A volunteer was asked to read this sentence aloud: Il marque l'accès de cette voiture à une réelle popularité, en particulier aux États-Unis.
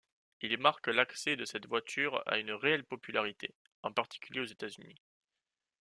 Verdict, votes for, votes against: accepted, 2, 0